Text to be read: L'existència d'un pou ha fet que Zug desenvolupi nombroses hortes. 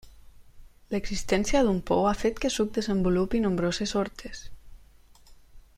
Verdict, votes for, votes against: rejected, 1, 2